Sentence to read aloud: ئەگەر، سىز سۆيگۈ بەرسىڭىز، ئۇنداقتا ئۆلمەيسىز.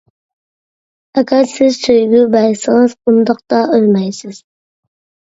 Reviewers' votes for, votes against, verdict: 2, 1, accepted